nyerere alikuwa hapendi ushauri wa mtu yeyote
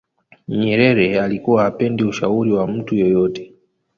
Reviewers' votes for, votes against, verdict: 1, 2, rejected